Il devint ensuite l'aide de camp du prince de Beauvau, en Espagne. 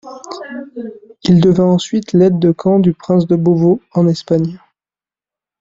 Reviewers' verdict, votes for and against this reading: accepted, 2, 0